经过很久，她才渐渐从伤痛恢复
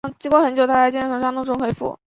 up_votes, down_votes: 1, 2